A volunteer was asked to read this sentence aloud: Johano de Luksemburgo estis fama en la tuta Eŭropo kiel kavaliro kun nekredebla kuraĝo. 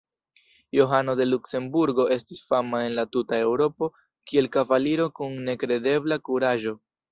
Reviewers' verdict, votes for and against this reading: accepted, 2, 0